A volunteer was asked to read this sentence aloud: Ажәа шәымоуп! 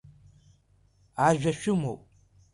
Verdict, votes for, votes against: accepted, 2, 1